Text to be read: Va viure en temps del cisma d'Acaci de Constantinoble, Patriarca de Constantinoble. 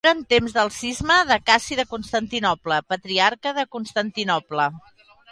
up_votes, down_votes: 0, 2